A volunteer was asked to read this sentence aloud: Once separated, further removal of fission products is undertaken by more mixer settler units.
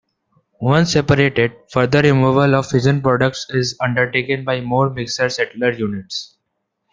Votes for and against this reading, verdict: 1, 2, rejected